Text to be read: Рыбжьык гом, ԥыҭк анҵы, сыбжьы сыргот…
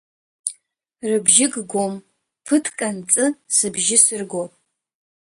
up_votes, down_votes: 1, 2